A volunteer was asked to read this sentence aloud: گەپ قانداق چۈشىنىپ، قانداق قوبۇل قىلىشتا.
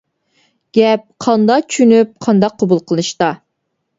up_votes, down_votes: 2, 0